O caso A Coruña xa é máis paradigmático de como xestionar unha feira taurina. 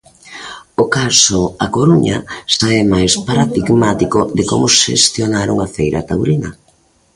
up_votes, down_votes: 0, 2